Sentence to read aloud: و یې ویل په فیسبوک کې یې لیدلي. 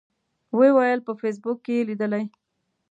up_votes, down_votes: 2, 0